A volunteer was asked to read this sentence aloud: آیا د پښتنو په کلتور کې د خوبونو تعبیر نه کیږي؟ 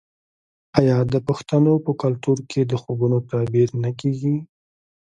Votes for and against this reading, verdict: 3, 1, accepted